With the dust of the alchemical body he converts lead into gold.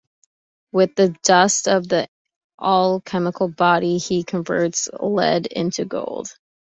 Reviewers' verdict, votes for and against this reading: accepted, 2, 0